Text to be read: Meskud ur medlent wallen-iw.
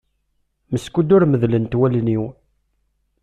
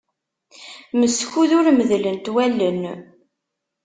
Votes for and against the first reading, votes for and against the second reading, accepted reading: 2, 0, 0, 2, first